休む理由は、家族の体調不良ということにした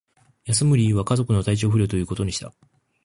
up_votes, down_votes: 2, 0